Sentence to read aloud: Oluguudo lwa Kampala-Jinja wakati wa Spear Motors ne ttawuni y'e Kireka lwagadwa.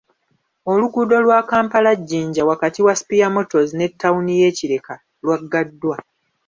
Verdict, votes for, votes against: rejected, 1, 2